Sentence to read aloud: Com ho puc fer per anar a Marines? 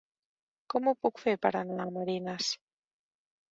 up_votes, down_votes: 1, 2